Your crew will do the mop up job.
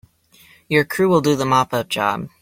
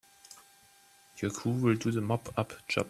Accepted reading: first